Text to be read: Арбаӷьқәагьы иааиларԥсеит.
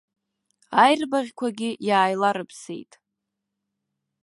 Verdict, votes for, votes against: rejected, 1, 2